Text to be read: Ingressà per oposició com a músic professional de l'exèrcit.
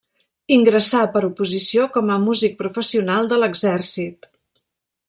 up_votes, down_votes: 3, 0